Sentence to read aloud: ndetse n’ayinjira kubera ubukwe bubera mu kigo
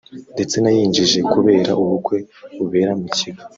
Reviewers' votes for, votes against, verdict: 1, 2, rejected